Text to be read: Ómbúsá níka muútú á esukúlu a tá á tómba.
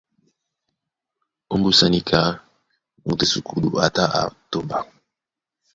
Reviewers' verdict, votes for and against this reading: rejected, 1, 2